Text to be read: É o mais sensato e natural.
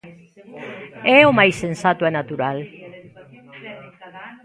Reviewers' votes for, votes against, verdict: 0, 2, rejected